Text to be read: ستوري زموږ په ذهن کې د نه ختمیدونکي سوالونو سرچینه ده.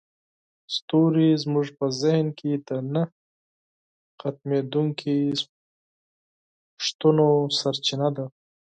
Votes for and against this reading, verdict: 4, 2, accepted